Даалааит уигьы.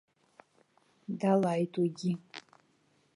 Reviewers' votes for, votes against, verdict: 0, 2, rejected